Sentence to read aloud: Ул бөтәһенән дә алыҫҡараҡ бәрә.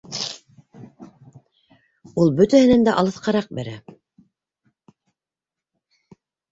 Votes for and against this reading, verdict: 1, 2, rejected